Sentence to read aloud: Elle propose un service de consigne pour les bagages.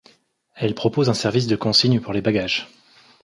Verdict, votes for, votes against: accepted, 2, 0